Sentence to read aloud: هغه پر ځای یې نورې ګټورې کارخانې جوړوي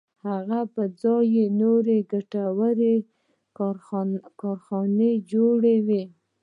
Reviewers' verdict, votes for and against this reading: rejected, 0, 2